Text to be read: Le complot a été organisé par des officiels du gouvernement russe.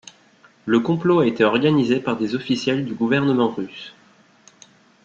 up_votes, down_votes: 2, 0